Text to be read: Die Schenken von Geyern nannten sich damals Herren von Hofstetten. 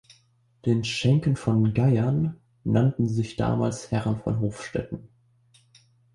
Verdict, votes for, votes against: rejected, 0, 2